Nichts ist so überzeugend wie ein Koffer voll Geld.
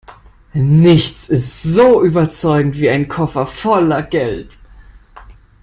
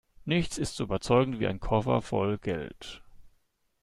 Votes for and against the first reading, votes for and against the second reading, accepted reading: 0, 2, 2, 0, second